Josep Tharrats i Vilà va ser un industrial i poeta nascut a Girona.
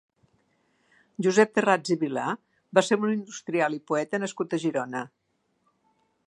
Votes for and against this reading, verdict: 2, 0, accepted